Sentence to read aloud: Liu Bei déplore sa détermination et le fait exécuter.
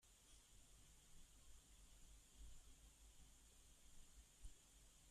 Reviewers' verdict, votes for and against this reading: rejected, 1, 2